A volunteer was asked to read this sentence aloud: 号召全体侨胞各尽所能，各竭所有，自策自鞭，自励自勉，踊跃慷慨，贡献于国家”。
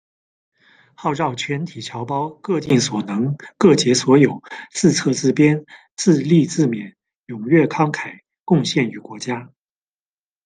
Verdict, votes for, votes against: accepted, 2, 0